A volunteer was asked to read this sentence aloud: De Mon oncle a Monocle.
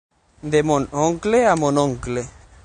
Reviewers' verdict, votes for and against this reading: rejected, 3, 9